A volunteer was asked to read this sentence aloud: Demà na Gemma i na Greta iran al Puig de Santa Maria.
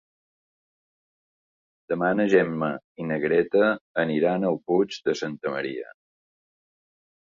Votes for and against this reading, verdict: 1, 2, rejected